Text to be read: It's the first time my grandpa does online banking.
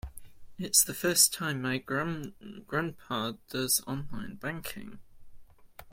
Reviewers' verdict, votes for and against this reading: rejected, 1, 2